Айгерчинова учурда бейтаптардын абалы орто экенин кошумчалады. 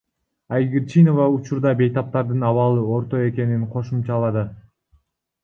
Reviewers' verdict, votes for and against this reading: rejected, 0, 2